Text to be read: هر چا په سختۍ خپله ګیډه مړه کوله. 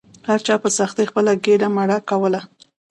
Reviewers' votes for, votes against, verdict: 1, 2, rejected